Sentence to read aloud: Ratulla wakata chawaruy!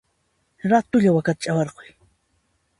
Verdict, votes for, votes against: rejected, 1, 2